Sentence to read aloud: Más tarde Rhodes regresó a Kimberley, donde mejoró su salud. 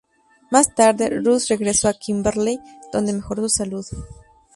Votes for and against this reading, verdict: 0, 2, rejected